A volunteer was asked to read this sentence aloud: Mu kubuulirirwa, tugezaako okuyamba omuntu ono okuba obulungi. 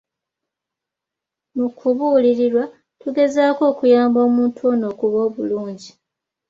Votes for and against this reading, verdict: 2, 0, accepted